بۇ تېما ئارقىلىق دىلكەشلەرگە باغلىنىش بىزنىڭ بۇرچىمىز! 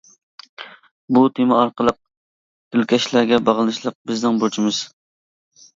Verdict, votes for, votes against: rejected, 0, 2